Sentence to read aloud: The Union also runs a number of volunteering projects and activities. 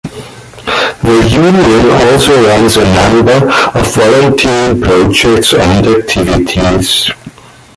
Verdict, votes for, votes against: accepted, 2, 0